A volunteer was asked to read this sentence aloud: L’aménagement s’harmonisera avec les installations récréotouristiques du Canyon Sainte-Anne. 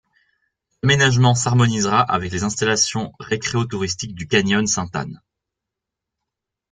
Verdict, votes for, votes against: rejected, 0, 2